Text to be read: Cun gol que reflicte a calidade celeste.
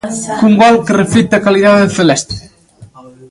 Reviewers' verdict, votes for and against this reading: accepted, 2, 1